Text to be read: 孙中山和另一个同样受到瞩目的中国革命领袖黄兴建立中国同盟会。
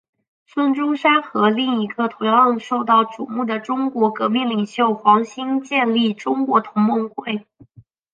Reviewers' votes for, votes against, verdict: 3, 1, accepted